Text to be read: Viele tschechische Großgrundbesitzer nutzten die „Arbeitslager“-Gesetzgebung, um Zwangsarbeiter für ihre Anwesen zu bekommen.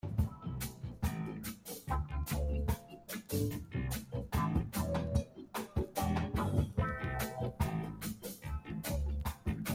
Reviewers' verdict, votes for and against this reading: rejected, 0, 2